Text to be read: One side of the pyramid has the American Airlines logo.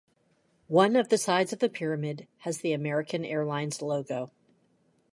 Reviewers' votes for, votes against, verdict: 0, 2, rejected